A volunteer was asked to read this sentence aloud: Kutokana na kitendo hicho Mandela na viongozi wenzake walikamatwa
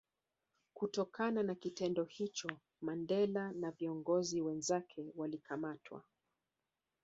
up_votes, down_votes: 4, 0